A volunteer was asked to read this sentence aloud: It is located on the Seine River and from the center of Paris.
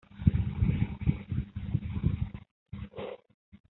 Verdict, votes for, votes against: rejected, 0, 2